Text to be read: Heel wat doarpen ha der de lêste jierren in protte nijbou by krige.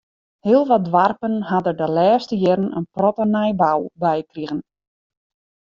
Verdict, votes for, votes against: accepted, 2, 0